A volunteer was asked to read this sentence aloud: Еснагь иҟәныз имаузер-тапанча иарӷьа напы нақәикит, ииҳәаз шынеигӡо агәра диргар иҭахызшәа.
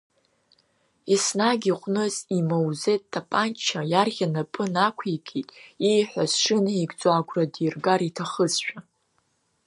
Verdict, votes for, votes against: rejected, 0, 2